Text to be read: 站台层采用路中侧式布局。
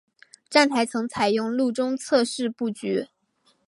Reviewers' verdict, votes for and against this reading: accepted, 2, 0